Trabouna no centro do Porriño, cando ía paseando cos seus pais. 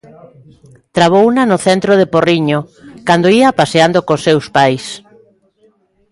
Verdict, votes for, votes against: rejected, 0, 2